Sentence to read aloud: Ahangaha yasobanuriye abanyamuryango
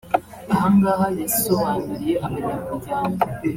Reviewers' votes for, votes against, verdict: 1, 2, rejected